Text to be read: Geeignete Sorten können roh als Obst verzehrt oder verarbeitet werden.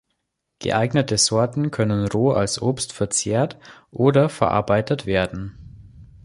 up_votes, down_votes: 2, 0